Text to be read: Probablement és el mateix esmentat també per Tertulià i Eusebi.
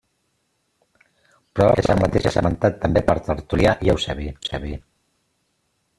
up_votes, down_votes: 0, 2